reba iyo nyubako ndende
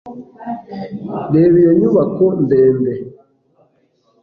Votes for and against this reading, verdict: 2, 0, accepted